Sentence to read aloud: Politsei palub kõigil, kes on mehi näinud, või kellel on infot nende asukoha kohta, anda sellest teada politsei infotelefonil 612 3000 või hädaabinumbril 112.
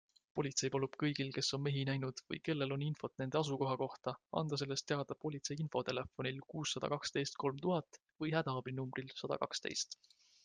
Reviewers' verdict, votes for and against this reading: rejected, 0, 2